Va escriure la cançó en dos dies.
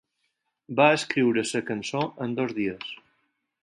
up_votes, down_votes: 2, 4